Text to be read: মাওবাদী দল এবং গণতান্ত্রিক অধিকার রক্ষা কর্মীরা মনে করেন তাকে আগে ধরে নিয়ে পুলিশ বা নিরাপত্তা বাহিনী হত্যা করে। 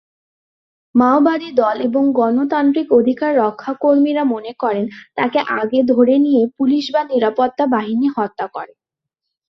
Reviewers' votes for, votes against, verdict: 5, 0, accepted